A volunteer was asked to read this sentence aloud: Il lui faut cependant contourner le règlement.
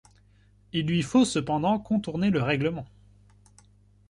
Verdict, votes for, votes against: accepted, 2, 0